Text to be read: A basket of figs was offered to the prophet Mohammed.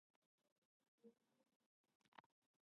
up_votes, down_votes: 0, 2